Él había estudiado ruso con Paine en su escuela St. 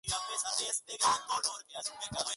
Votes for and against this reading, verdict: 0, 2, rejected